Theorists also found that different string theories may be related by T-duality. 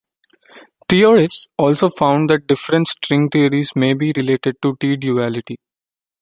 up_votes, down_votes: 1, 2